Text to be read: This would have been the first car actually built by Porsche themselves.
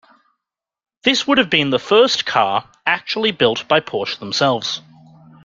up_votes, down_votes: 2, 0